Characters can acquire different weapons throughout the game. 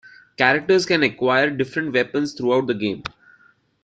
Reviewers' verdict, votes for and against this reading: accepted, 2, 0